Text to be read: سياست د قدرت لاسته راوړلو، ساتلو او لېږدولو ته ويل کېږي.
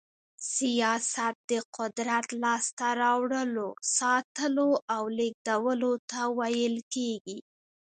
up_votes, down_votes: 2, 1